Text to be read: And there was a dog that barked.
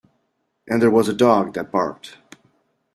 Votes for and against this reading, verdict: 2, 0, accepted